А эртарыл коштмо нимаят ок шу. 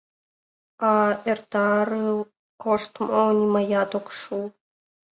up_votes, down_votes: 1, 3